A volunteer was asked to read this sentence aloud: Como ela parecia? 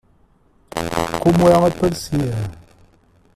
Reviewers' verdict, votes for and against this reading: rejected, 1, 2